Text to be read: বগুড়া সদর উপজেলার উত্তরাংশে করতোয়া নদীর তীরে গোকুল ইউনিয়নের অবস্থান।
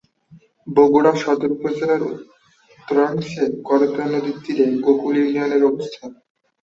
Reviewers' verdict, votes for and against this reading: rejected, 1, 2